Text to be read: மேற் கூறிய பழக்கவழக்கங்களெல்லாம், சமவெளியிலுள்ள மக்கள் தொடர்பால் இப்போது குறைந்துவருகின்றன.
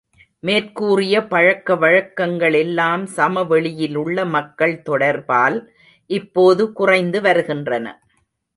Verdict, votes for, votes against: accepted, 4, 0